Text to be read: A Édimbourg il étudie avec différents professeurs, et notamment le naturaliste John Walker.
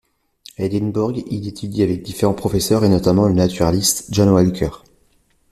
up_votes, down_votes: 2, 0